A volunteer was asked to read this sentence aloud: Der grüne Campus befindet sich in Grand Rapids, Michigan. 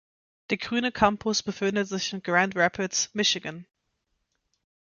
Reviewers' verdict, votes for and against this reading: accepted, 4, 0